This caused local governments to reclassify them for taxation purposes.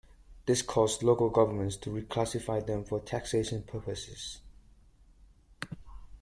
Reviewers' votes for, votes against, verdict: 2, 0, accepted